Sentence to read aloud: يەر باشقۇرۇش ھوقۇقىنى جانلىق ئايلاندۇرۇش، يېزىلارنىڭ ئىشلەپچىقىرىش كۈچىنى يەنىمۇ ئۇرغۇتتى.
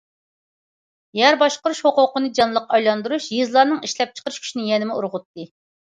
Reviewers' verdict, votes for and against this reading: accepted, 2, 0